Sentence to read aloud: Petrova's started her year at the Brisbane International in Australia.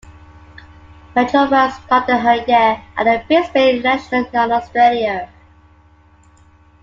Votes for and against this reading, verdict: 0, 2, rejected